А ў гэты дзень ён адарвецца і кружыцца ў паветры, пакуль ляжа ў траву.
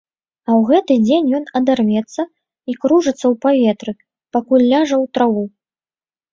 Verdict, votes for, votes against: accepted, 2, 0